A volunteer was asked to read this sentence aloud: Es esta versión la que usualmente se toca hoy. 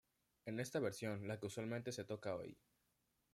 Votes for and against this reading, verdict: 1, 2, rejected